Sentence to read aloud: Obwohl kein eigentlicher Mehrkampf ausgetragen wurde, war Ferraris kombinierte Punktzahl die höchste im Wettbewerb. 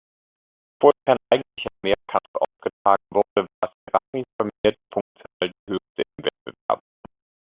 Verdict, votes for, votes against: rejected, 0, 2